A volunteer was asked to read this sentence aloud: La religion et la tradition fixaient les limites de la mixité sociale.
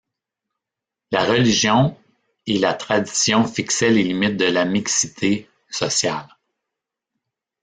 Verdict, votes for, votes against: rejected, 1, 2